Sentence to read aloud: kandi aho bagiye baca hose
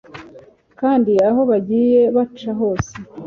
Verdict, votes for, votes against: accepted, 2, 0